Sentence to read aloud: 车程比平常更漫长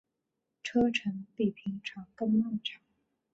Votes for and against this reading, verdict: 4, 0, accepted